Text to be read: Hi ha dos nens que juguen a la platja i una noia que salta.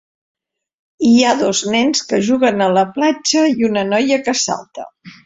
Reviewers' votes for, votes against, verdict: 4, 0, accepted